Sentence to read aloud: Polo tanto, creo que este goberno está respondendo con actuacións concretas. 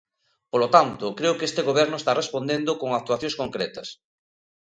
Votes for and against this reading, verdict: 2, 0, accepted